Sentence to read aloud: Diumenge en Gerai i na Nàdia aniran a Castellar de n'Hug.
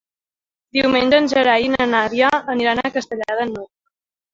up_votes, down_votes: 2, 1